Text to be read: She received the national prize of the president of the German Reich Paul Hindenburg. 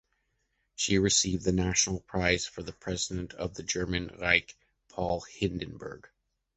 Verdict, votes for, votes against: rejected, 0, 2